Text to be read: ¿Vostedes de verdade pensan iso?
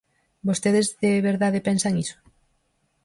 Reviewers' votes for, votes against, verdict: 4, 0, accepted